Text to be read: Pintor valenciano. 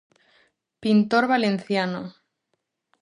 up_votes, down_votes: 4, 0